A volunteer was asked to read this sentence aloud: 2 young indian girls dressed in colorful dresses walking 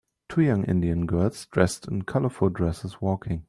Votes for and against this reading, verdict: 0, 2, rejected